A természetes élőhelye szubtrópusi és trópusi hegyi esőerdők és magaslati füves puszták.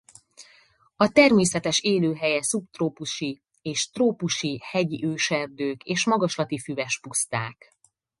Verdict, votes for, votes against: rejected, 0, 4